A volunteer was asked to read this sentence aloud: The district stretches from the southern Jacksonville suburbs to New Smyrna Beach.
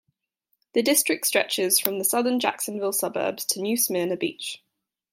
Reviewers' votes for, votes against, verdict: 2, 0, accepted